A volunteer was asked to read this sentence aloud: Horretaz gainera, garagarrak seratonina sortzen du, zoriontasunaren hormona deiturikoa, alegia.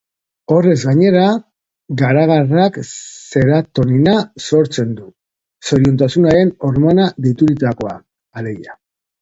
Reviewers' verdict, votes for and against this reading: rejected, 0, 2